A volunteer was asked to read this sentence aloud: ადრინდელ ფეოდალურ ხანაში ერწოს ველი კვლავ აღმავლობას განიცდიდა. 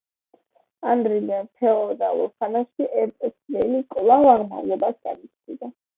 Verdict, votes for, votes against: accepted, 2, 0